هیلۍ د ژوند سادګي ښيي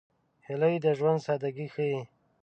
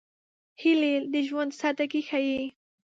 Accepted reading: first